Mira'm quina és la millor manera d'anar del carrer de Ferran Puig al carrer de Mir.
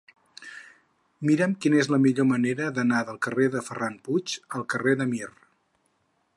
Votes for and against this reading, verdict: 6, 0, accepted